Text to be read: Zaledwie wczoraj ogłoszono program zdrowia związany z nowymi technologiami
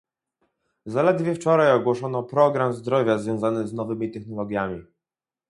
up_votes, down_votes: 4, 0